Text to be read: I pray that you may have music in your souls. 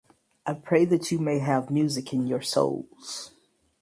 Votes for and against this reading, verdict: 4, 0, accepted